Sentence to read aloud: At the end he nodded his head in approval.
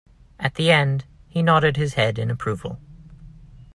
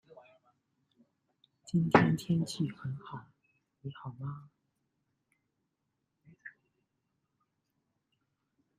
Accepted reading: first